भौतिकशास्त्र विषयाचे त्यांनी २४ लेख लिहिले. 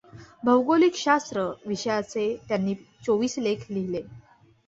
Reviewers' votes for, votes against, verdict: 0, 2, rejected